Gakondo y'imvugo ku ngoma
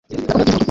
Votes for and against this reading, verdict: 2, 1, accepted